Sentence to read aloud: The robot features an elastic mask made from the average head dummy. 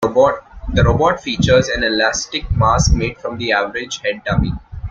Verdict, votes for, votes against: rejected, 0, 2